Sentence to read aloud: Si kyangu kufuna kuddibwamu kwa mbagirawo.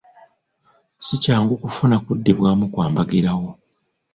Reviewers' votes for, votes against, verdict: 2, 1, accepted